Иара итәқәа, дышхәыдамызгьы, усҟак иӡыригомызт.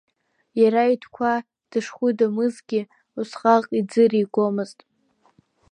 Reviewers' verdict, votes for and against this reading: accepted, 2, 0